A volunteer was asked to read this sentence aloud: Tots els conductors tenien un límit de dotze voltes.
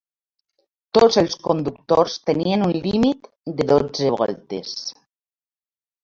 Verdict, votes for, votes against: rejected, 0, 2